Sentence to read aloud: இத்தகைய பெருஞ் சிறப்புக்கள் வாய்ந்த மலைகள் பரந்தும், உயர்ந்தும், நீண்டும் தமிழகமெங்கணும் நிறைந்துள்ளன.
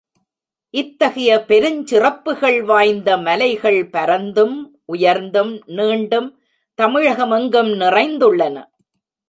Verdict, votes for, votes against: rejected, 1, 2